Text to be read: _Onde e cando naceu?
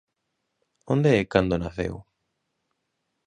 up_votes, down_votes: 2, 0